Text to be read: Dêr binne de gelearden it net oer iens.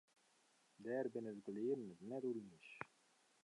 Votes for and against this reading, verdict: 0, 2, rejected